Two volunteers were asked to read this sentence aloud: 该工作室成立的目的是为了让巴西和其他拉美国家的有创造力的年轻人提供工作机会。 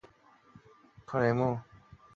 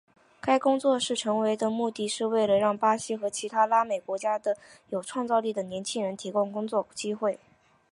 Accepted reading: first